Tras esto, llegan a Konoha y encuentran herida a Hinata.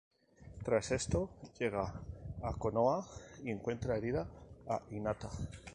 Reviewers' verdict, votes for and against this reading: rejected, 0, 2